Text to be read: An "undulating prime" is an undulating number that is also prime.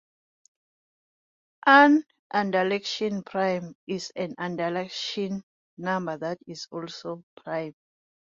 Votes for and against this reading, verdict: 1, 2, rejected